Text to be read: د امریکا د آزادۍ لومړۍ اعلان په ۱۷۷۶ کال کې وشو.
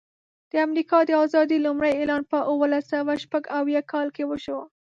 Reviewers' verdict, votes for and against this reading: rejected, 0, 2